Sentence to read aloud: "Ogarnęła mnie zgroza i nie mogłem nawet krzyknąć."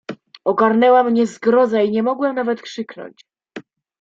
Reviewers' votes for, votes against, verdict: 2, 0, accepted